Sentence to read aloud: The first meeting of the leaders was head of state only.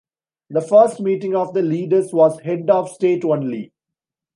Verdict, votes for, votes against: accepted, 2, 1